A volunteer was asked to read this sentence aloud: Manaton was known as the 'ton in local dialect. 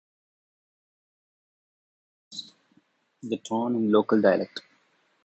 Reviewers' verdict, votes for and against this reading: rejected, 0, 2